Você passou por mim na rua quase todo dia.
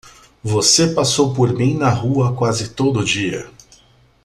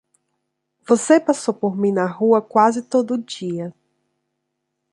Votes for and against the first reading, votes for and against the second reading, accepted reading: 1, 2, 2, 0, second